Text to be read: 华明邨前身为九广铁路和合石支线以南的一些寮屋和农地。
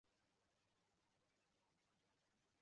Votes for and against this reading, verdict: 0, 2, rejected